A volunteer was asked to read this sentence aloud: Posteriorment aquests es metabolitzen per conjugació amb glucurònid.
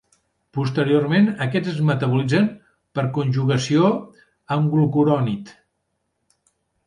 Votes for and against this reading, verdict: 3, 0, accepted